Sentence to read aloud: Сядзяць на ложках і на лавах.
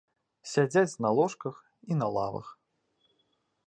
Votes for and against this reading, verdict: 2, 0, accepted